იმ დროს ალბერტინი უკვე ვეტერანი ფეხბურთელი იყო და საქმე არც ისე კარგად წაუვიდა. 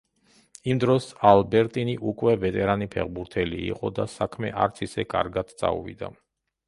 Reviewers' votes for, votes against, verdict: 2, 0, accepted